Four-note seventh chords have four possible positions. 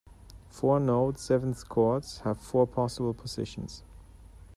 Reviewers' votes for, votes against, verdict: 2, 0, accepted